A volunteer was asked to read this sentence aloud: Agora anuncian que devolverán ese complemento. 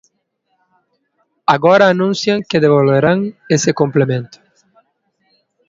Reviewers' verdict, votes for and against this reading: accepted, 2, 0